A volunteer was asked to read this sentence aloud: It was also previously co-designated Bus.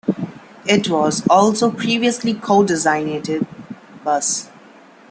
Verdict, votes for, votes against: accepted, 2, 0